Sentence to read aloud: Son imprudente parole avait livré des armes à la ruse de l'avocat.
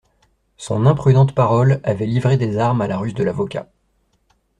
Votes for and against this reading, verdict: 2, 0, accepted